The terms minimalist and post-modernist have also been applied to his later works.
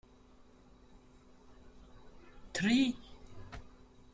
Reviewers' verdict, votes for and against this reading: rejected, 0, 2